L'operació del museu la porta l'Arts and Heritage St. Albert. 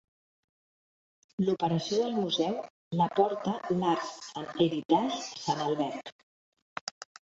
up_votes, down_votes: 0, 2